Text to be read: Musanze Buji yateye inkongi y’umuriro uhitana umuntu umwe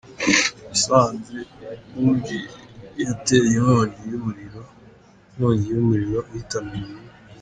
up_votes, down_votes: 0, 2